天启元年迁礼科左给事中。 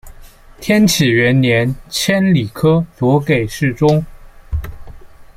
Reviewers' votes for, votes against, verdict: 0, 2, rejected